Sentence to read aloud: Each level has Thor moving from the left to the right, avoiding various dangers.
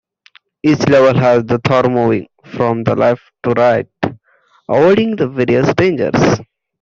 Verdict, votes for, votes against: rejected, 0, 2